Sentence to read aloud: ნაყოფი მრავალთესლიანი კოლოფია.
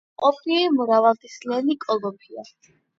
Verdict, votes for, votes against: rejected, 0, 8